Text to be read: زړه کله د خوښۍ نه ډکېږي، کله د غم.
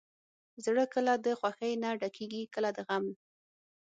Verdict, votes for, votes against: accepted, 6, 0